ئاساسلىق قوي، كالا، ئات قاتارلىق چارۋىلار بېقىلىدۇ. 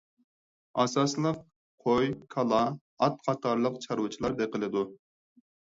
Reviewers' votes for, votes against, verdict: 2, 4, rejected